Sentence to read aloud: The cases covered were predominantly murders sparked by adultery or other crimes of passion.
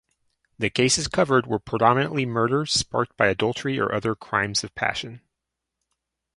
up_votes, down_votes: 4, 0